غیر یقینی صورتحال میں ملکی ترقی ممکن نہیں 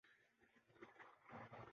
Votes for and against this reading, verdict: 0, 2, rejected